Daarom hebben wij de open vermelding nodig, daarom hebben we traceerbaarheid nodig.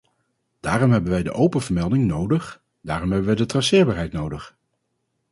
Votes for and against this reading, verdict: 2, 2, rejected